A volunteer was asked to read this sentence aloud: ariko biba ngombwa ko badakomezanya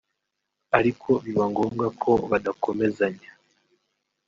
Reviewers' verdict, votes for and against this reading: accepted, 3, 0